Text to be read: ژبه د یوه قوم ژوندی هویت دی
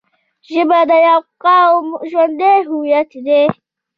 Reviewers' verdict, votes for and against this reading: accepted, 2, 0